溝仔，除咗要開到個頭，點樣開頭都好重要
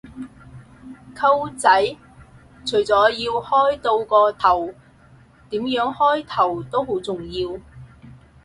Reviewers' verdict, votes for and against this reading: rejected, 2, 2